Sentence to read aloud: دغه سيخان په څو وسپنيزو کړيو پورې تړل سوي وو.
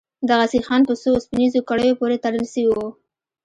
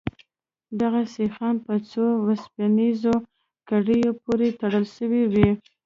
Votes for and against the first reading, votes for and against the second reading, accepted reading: 0, 2, 2, 1, second